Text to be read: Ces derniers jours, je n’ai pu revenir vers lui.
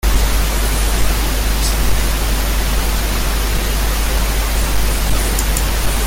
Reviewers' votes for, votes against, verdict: 0, 2, rejected